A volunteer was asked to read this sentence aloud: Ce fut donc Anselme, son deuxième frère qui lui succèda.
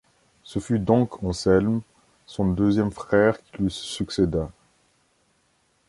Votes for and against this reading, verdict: 1, 2, rejected